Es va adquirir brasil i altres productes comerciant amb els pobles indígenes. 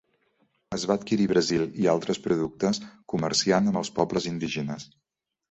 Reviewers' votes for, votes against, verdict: 1, 2, rejected